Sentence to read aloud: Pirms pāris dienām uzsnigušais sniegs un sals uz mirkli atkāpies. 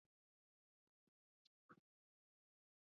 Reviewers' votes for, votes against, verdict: 0, 2, rejected